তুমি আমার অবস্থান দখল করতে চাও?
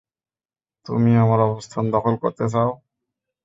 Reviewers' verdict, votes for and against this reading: accepted, 2, 0